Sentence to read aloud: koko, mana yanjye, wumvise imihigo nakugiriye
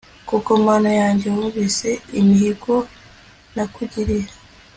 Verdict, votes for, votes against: accepted, 2, 0